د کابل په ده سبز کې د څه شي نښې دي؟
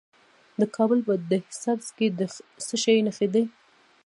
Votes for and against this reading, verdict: 1, 2, rejected